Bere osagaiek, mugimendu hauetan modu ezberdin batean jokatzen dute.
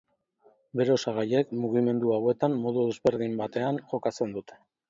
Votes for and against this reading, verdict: 2, 0, accepted